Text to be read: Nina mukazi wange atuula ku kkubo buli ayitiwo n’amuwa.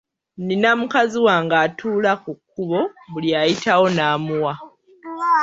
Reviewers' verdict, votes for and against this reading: accepted, 2, 0